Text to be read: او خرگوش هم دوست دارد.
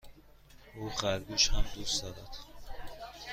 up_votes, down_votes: 2, 0